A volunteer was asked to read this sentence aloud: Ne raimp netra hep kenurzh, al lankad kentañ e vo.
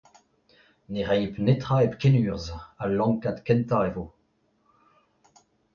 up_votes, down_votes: 2, 0